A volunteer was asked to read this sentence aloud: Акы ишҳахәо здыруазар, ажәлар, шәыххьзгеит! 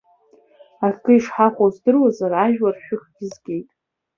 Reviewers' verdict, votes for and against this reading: rejected, 1, 2